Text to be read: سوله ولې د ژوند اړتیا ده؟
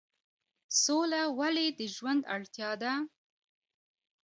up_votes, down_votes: 2, 0